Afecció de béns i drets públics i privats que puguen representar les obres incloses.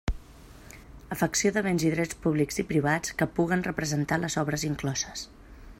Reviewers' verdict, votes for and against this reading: accepted, 3, 0